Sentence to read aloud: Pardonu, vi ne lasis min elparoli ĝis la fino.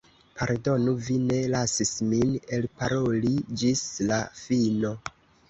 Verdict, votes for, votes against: accepted, 2, 0